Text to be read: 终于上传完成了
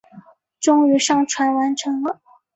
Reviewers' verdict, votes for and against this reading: accepted, 6, 0